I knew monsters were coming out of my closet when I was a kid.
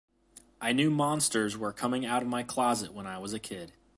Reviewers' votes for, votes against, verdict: 2, 0, accepted